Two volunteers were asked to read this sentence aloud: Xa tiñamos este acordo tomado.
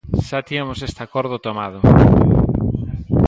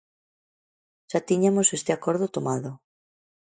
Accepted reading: first